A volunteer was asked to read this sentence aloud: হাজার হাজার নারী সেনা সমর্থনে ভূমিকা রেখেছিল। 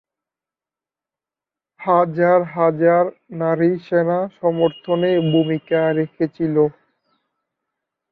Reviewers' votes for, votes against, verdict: 2, 1, accepted